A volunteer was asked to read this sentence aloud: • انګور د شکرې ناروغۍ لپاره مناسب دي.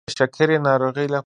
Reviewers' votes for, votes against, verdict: 0, 2, rejected